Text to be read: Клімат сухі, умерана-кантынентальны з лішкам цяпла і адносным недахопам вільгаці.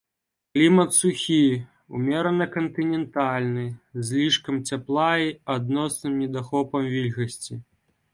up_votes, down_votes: 3, 2